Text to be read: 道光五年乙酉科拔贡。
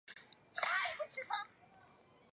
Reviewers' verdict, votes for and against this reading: rejected, 0, 3